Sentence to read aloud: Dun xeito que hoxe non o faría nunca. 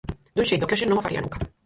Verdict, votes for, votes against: rejected, 0, 4